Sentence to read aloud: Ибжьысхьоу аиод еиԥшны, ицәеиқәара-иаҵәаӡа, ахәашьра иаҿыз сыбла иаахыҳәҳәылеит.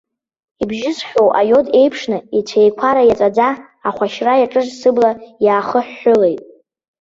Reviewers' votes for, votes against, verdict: 2, 0, accepted